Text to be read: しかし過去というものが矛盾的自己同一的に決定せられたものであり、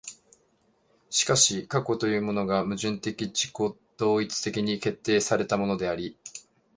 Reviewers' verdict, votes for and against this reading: rejected, 0, 2